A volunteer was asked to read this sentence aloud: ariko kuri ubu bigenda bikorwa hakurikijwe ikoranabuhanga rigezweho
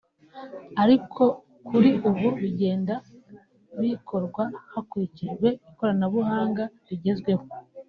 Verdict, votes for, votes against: rejected, 0, 2